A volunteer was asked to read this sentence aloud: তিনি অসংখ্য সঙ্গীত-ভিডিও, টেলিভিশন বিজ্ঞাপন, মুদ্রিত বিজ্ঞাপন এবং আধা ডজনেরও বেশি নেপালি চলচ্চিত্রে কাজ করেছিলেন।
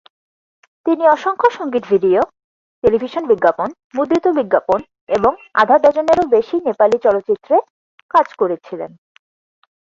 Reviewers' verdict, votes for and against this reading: accepted, 4, 0